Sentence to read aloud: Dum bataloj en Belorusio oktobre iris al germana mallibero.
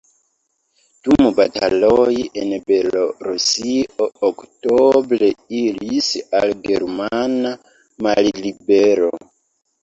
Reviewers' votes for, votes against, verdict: 0, 2, rejected